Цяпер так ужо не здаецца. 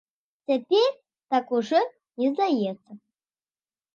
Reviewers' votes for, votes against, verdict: 2, 1, accepted